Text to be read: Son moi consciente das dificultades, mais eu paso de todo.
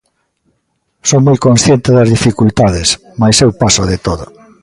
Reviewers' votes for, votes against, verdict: 2, 0, accepted